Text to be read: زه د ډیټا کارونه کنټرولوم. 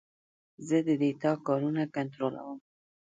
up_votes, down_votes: 1, 2